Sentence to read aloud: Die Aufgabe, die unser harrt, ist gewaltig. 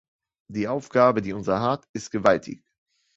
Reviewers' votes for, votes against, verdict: 2, 1, accepted